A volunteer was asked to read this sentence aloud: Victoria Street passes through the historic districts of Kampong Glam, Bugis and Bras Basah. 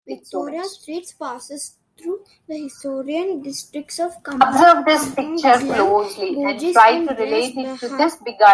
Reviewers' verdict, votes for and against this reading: rejected, 0, 2